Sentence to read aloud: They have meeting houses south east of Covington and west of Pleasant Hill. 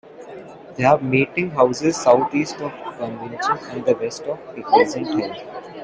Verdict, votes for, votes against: rejected, 0, 2